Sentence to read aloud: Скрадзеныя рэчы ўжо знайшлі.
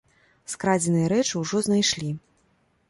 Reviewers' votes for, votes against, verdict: 3, 0, accepted